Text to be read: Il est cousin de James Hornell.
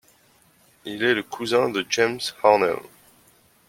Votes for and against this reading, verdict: 0, 2, rejected